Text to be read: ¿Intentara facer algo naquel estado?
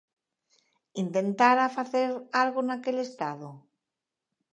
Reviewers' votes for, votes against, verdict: 2, 0, accepted